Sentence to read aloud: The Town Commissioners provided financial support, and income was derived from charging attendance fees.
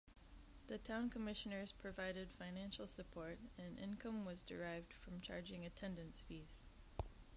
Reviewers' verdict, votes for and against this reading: accepted, 2, 1